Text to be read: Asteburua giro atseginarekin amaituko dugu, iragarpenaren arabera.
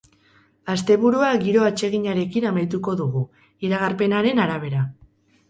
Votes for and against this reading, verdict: 4, 0, accepted